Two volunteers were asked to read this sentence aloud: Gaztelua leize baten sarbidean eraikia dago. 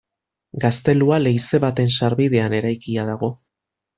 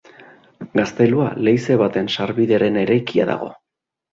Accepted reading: first